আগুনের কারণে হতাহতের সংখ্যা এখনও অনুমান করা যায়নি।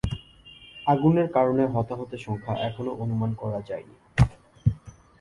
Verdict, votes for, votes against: accepted, 2, 0